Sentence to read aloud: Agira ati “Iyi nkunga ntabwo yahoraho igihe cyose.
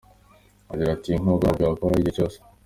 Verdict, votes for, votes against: accepted, 2, 1